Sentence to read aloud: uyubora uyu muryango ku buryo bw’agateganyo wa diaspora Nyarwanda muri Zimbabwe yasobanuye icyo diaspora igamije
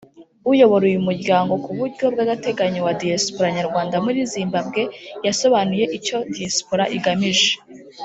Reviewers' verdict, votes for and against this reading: accepted, 2, 1